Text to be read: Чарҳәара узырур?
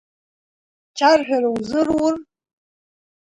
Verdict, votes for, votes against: accepted, 2, 0